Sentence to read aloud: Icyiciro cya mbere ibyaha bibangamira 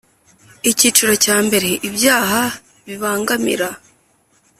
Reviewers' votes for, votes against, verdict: 3, 0, accepted